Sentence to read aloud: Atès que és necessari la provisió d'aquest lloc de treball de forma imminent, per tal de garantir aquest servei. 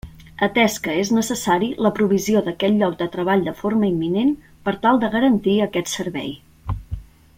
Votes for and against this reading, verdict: 2, 0, accepted